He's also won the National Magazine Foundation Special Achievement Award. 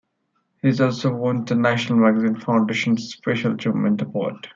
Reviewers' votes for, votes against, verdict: 2, 1, accepted